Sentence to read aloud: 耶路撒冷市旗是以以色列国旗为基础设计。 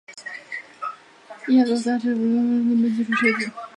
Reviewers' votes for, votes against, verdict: 2, 4, rejected